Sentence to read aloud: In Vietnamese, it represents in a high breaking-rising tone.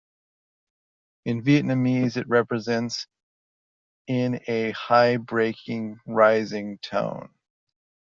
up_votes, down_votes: 2, 1